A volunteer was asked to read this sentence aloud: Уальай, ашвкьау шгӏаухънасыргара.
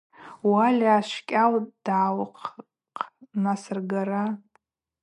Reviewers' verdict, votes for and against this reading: rejected, 0, 4